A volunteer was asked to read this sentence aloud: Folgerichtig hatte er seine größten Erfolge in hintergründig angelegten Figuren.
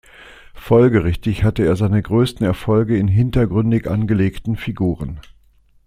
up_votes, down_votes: 2, 0